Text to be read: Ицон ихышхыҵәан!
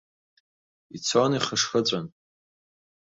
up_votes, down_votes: 2, 0